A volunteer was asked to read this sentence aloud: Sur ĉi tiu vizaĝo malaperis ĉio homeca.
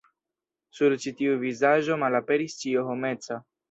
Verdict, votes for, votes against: rejected, 0, 2